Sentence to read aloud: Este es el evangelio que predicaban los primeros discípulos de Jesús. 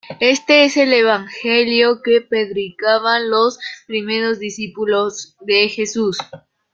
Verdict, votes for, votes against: rejected, 0, 2